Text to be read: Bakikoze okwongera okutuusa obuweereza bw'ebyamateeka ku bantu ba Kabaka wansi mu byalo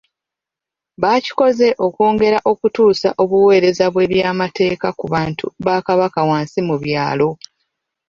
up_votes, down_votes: 2, 0